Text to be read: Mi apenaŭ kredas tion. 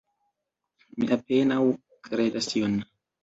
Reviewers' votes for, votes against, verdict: 1, 2, rejected